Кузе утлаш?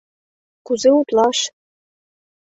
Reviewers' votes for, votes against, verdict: 2, 0, accepted